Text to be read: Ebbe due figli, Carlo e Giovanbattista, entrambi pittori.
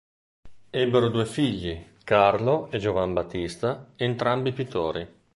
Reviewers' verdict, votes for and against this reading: rejected, 1, 2